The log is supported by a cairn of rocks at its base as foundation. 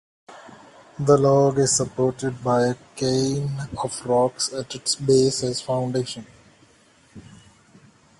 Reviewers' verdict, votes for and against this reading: rejected, 0, 2